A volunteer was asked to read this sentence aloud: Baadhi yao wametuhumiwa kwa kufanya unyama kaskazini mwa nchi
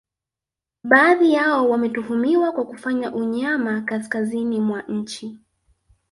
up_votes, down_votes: 4, 0